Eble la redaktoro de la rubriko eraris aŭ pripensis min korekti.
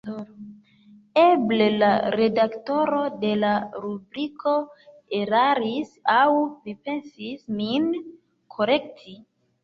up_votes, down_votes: 0, 2